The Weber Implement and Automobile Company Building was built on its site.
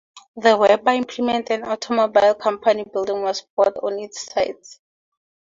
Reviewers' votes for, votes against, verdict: 4, 2, accepted